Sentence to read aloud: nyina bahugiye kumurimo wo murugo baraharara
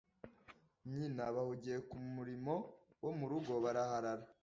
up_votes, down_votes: 2, 0